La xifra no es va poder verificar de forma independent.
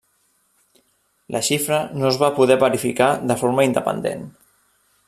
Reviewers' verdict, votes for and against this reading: accepted, 3, 0